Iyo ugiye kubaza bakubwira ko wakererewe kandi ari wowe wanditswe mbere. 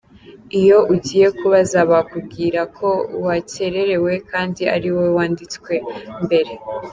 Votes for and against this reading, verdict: 2, 1, accepted